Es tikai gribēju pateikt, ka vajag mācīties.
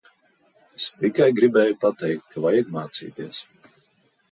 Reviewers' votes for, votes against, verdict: 2, 0, accepted